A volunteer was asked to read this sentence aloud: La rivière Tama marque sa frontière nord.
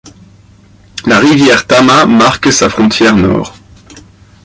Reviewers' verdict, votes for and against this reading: accepted, 2, 0